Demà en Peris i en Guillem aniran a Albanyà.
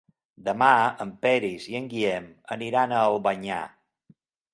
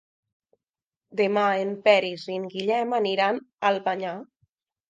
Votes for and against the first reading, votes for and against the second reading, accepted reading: 6, 0, 1, 2, first